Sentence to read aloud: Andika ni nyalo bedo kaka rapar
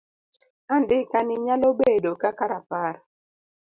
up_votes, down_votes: 2, 0